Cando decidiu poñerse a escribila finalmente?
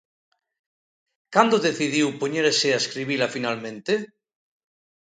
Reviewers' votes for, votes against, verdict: 2, 0, accepted